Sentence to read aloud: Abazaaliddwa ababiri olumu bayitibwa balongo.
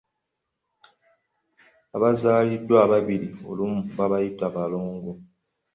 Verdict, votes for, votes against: accepted, 3, 1